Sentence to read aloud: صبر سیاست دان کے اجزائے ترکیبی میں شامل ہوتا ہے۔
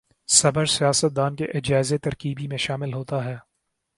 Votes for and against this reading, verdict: 1, 2, rejected